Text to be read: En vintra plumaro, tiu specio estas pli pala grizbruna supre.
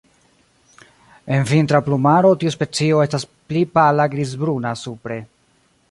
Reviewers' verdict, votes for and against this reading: rejected, 0, 2